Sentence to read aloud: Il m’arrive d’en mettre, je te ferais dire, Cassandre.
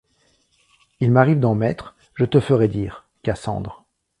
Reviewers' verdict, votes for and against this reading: accepted, 2, 0